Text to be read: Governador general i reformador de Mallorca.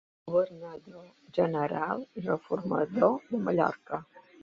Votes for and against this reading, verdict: 2, 0, accepted